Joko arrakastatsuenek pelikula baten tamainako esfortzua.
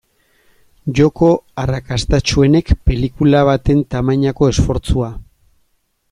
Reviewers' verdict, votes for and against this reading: accepted, 2, 0